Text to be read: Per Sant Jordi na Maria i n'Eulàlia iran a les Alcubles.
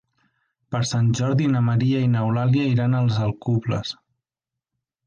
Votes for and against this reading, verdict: 0, 3, rejected